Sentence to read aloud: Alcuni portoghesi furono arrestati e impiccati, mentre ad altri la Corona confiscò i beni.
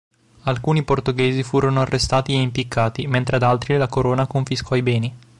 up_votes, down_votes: 3, 0